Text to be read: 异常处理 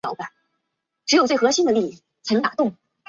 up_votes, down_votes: 0, 2